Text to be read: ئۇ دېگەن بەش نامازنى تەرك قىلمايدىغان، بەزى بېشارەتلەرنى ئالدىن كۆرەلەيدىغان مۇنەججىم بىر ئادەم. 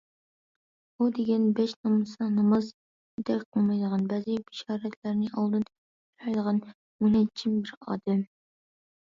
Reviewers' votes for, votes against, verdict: 0, 2, rejected